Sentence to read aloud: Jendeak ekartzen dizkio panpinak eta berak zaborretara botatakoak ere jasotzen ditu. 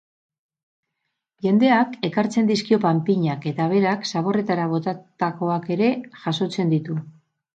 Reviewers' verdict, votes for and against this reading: accepted, 4, 0